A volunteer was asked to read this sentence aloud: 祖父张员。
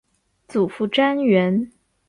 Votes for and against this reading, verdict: 0, 2, rejected